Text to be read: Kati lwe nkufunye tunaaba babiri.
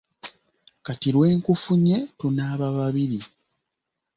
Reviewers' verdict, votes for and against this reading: accepted, 2, 0